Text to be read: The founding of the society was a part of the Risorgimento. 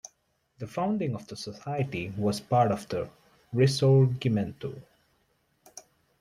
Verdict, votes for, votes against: rejected, 1, 2